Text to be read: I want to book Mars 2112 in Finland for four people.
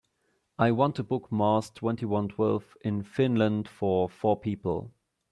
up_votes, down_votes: 0, 2